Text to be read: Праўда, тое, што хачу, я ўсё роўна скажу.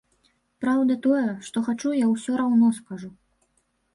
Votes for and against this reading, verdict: 0, 2, rejected